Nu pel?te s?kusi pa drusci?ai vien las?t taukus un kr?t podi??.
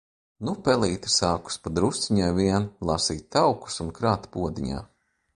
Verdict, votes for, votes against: rejected, 0, 2